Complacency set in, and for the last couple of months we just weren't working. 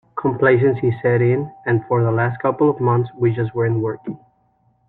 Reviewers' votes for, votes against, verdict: 2, 0, accepted